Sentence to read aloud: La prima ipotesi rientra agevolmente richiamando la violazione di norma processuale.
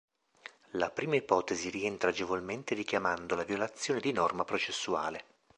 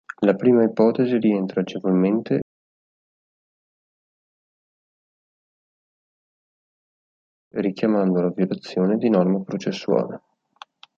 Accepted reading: first